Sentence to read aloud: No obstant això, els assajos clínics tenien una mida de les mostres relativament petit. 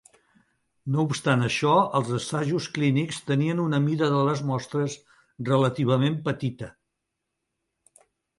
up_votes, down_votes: 0, 4